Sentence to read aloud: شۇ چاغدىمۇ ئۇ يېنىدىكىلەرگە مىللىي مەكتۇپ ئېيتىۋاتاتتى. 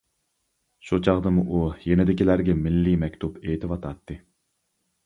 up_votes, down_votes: 2, 0